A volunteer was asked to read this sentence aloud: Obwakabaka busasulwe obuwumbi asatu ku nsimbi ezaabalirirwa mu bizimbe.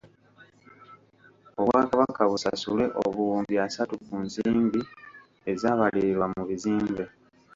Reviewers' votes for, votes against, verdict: 0, 2, rejected